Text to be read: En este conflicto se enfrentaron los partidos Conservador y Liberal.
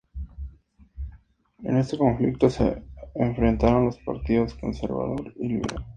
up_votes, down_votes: 2, 2